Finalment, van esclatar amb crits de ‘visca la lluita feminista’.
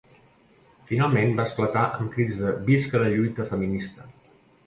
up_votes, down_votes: 1, 2